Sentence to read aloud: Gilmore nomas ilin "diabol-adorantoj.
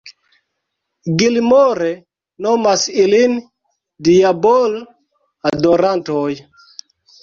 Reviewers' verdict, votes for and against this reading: rejected, 0, 2